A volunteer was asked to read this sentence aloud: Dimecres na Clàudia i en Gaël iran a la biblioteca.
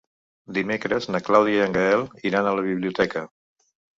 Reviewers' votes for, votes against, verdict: 4, 0, accepted